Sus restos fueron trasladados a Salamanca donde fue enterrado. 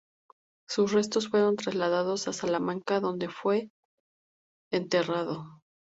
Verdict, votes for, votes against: accepted, 2, 0